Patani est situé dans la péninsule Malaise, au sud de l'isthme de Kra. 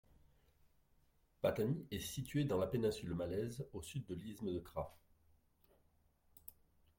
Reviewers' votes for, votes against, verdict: 0, 2, rejected